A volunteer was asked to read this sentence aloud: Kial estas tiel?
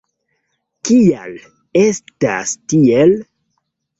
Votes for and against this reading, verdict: 2, 0, accepted